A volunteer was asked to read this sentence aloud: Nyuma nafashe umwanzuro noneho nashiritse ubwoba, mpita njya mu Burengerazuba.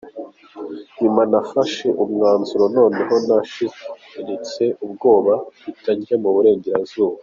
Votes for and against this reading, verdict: 2, 0, accepted